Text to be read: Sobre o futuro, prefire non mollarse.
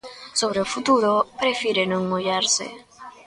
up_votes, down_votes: 2, 0